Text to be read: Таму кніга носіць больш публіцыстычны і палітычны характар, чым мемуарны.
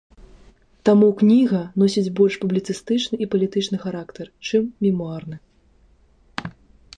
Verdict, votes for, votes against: accepted, 2, 0